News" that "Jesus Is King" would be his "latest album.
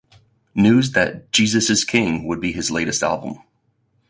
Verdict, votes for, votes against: rejected, 2, 2